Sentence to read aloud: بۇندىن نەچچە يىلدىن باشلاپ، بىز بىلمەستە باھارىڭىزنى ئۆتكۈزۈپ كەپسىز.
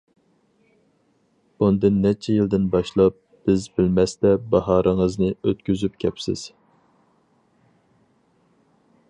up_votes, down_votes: 4, 0